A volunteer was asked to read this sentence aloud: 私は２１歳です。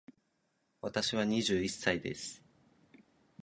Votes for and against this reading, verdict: 0, 2, rejected